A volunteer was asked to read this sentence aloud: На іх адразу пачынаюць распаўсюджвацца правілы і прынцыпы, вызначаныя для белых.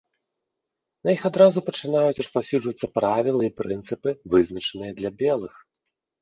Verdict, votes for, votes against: accepted, 4, 0